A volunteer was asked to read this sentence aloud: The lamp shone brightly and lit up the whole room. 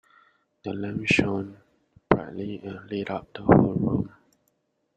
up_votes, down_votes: 0, 2